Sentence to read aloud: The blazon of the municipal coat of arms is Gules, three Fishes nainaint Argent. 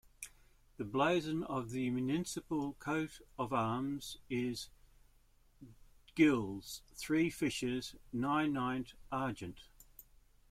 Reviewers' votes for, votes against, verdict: 2, 1, accepted